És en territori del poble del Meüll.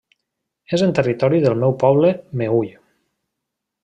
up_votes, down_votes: 0, 2